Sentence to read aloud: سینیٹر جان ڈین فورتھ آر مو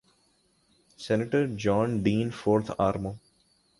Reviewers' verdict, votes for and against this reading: accepted, 2, 0